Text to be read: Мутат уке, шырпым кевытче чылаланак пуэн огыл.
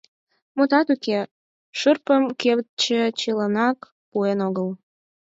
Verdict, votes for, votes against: rejected, 2, 4